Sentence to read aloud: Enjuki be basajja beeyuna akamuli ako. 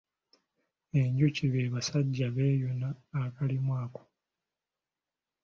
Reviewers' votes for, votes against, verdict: 1, 2, rejected